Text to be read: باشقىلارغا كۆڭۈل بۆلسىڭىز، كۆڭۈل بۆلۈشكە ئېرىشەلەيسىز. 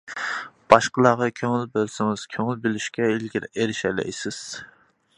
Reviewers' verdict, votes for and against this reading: rejected, 0, 2